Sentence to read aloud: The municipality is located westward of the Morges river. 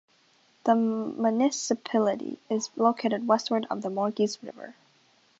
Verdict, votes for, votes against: rejected, 1, 2